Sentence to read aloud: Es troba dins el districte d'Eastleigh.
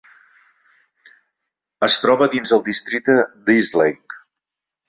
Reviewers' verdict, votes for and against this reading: accepted, 4, 0